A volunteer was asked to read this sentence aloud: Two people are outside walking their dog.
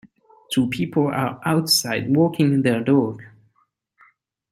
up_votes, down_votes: 3, 0